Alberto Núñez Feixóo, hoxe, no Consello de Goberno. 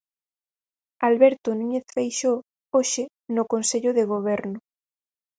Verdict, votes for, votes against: accepted, 4, 0